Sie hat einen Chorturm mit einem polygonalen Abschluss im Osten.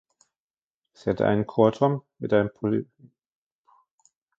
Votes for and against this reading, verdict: 0, 2, rejected